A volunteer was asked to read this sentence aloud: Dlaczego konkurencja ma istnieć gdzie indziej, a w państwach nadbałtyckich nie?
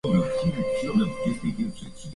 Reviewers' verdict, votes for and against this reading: rejected, 0, 2